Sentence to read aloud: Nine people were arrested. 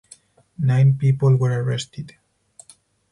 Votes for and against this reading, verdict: 4, 0, accepted